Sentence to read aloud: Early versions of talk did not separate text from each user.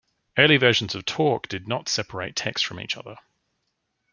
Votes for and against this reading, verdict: 0, 2, rejected